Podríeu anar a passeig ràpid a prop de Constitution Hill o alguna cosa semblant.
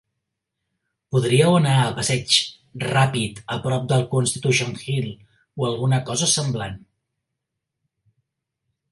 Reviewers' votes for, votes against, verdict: 2, 0, accepted